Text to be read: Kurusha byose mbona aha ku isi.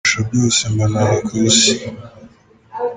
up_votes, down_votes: 1, 2